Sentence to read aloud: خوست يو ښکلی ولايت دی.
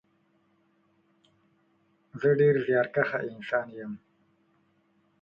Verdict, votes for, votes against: rejected, 0, 2